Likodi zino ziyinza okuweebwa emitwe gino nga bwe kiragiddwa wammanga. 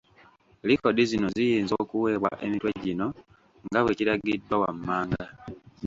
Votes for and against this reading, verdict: 1, 2, rejected